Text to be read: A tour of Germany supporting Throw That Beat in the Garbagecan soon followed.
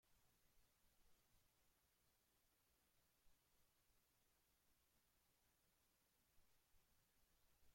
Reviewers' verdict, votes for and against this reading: rejected, 0, 2